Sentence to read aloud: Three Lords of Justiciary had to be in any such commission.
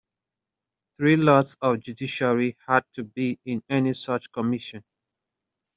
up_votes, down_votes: 0, 2